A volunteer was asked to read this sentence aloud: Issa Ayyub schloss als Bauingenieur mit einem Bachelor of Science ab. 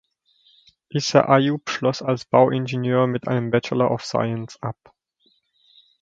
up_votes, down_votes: 2, 0